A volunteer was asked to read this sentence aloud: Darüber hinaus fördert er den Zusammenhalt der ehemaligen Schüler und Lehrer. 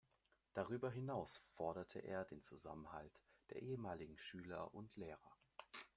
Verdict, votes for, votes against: rejected, 0, 2